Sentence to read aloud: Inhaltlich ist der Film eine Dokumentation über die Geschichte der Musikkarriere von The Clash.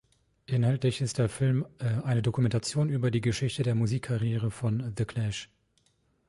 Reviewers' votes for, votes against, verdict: 0, 2, rejected